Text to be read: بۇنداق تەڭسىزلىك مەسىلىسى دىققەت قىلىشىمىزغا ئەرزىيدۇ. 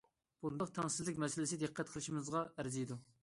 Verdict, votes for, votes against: accepted, 2, 0